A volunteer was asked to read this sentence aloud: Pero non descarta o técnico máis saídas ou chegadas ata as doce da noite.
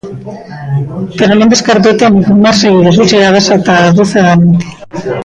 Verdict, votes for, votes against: rejected, 1, 2